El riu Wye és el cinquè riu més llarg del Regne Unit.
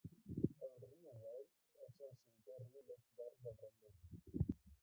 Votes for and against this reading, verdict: 0, 2, rejected